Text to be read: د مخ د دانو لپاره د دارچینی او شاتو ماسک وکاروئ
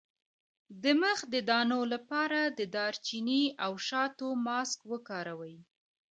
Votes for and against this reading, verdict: 2, 1, accepted